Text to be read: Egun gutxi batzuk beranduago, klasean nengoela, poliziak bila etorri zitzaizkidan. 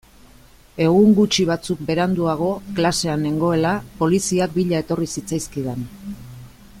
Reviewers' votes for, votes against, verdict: 2, 0, accepted